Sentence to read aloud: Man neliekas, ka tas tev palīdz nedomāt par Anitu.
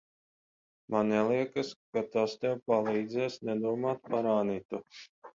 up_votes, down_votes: 0, 10